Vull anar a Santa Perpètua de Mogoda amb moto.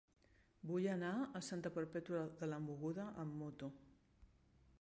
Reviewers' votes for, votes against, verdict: 0, 2, rejected